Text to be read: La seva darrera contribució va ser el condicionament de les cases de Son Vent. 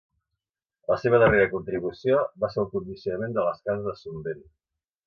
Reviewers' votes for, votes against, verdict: 2, 1, accepted